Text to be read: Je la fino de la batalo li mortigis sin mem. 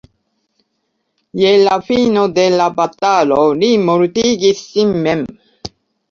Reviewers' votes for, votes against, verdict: 3, 0, accepted